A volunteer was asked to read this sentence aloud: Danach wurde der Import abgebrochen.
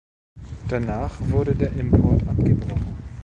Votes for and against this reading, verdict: 1, 2, rejected